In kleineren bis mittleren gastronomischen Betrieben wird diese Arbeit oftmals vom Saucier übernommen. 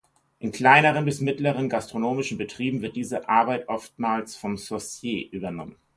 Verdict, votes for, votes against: accepted, 4, 0